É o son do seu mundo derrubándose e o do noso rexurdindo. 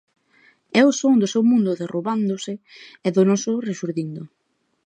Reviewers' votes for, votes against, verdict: 0, 2, rejected